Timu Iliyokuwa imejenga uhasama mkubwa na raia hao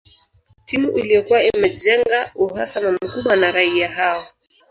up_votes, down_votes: 1, 2